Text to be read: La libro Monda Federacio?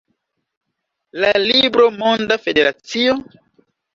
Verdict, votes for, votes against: accepted, 2, 0